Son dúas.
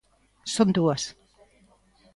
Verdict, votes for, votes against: accepted, 2, 0